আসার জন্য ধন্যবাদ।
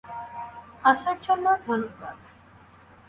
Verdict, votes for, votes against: rejected, 0, 2